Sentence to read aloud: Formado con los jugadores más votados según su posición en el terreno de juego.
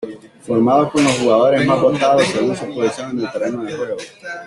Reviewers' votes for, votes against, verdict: 2, 1, accepted